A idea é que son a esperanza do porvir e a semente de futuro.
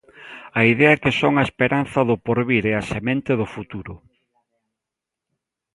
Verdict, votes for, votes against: rejected, 1, 2